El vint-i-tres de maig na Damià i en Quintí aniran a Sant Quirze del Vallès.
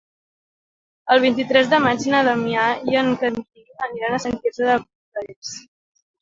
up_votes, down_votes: 0, 2